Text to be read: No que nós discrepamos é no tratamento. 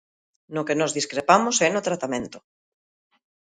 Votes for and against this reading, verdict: 2, 0, accepted